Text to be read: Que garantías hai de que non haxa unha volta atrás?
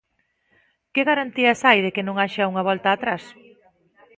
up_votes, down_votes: 2, 0